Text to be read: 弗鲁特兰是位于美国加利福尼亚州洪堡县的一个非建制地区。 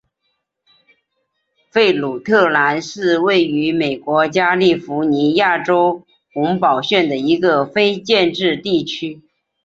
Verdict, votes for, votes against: accepted, 2, 0